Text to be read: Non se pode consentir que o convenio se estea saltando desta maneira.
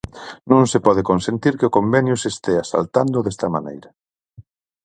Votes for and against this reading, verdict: 4, 0, accepted